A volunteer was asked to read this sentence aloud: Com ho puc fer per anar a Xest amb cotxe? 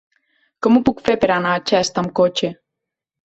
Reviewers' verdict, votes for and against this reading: accepted, 3, 0